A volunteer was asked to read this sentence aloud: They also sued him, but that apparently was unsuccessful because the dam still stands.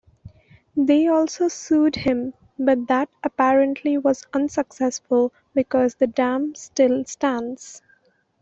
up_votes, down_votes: 2, 0